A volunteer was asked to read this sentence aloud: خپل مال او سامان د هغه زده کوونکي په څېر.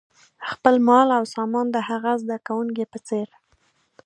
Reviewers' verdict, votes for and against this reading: accepted, 3, 0